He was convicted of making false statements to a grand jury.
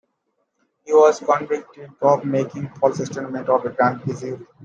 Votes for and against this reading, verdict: 0, 2, rejected